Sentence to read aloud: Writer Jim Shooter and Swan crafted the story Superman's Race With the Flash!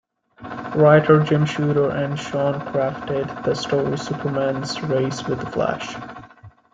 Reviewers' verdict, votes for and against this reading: accepted, 2, 0